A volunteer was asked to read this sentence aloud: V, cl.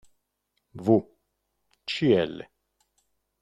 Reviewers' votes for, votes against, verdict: 2, 0, accepted